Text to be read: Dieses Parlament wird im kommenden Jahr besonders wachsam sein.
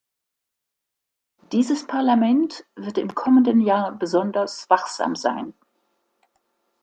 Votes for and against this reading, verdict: 2, 0, accepted